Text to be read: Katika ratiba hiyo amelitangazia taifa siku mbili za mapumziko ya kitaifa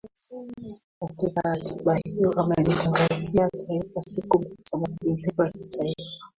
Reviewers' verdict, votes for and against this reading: rejected, 0, 2